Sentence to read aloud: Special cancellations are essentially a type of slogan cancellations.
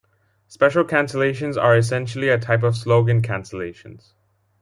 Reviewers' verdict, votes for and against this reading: accepted, 2, 0